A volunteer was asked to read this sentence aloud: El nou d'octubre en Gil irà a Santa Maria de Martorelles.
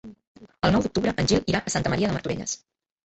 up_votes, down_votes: 1, 2